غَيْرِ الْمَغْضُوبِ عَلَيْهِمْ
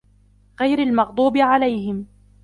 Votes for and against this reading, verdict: 2, 1, accepted